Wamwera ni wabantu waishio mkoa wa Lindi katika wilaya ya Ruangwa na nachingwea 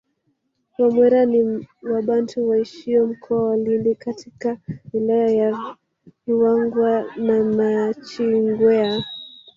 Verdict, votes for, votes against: rejected, 1, 2